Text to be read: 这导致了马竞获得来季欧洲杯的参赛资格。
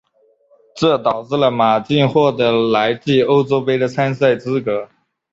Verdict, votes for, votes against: accepted, 4, 0